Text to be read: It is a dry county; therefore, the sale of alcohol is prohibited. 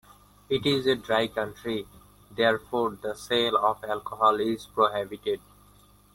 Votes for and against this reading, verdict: 1, 2, rejected